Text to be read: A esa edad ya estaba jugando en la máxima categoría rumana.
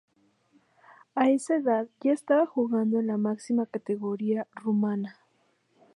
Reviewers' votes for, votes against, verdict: 2, 0, accepted